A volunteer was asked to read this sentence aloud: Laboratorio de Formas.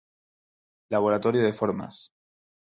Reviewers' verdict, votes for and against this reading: accepted, 4, 0